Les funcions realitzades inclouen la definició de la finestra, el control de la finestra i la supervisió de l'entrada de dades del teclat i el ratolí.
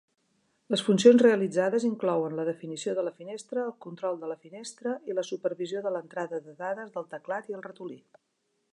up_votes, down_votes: 3, 0